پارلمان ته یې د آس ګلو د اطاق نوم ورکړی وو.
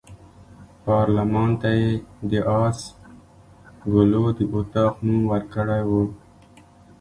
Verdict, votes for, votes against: accepted, 2, 0